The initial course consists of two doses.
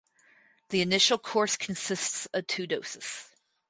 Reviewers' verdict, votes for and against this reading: rejected, 2, 2